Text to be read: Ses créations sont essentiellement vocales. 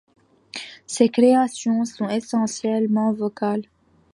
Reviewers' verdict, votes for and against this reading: accepted, 2, 0